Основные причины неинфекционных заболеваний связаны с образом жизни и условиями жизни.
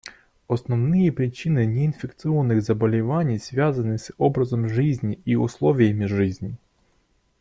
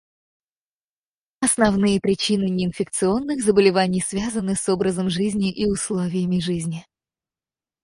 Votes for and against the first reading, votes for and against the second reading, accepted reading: 2, 1, 0, 4, first